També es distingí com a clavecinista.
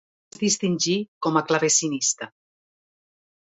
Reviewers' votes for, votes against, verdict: 1, 2, rejected